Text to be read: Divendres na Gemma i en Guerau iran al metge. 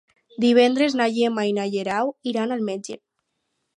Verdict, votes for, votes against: rejected, 2, 2